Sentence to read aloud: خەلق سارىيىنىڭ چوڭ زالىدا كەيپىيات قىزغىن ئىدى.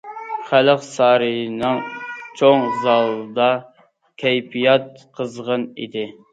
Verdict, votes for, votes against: accepted, 2, 0